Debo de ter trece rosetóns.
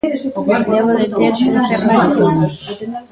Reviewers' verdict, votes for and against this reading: rejected, 0, 2